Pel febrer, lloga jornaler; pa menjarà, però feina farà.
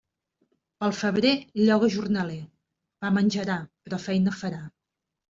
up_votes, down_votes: 2, 0